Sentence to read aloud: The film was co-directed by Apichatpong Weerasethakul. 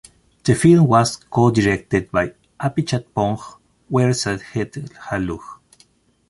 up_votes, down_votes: 0, 2